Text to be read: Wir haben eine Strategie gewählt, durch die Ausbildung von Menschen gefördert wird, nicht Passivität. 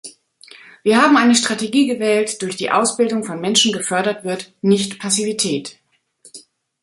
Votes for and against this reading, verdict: 2, 0, accepted